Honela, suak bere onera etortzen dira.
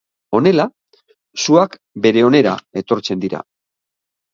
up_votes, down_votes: 2, 1